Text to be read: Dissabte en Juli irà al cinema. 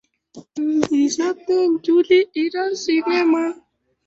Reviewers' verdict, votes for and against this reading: rejected, 1, 2